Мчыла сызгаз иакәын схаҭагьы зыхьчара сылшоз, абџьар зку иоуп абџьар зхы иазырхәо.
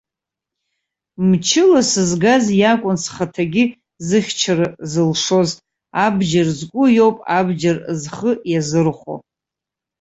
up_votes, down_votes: 1, 2